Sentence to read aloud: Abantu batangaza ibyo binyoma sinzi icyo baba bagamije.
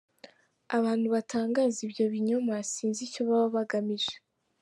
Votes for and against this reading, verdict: 2, 0, accepted